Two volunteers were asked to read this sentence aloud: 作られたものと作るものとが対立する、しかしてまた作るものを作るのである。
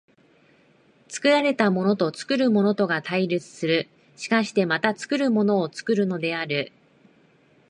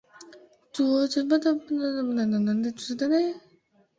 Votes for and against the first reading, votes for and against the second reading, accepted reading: 2, 0, 0, 2, first